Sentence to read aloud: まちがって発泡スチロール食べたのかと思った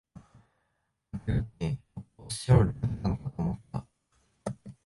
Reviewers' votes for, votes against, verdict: 1, 2, rejected